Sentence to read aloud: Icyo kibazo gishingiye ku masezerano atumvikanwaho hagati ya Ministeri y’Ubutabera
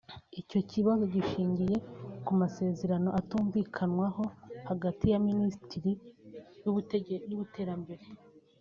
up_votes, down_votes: 1, 2